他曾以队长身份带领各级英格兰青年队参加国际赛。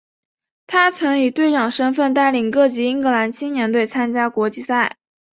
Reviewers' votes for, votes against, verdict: 2, 0, accepted